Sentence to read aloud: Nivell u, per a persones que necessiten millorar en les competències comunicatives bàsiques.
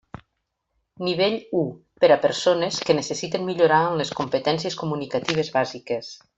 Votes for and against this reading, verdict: 1, 2, rejected